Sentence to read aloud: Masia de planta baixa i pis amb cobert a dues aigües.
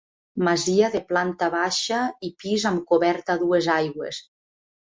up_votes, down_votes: 2, 0